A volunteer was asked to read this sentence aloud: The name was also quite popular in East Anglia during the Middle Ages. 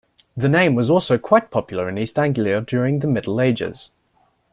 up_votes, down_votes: 2, 0